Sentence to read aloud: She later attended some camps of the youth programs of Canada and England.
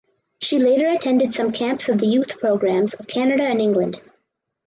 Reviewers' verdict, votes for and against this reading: accepted, 4, 0